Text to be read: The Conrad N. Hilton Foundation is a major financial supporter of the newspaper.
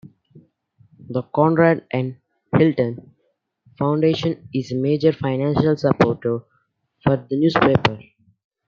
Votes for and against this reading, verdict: 2, 0, accepted